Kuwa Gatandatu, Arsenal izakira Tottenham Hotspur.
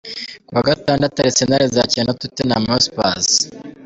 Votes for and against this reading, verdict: 2, 1, accepted